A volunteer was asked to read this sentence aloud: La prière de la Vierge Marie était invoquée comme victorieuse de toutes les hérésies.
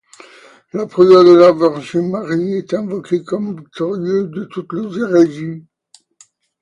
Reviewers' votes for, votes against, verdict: 0, 2, rejected